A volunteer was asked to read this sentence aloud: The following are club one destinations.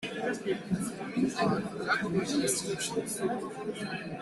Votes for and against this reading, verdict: 0, 2, rejected